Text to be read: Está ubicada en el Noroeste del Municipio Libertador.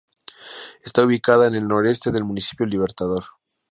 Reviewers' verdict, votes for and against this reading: rejected, 0, 2